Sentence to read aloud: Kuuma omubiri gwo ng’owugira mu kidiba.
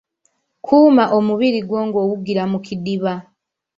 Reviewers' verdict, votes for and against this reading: rejected, 1, 2